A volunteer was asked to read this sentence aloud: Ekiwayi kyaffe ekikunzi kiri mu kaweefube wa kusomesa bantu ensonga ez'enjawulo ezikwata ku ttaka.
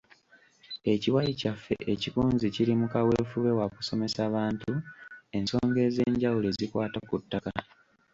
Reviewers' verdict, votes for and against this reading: rejected, 1, 2